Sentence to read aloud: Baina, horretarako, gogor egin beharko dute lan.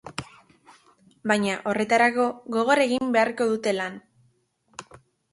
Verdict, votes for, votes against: accepted, 3, 0